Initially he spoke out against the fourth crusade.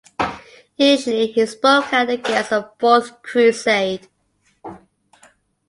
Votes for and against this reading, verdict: 1, 2, rejected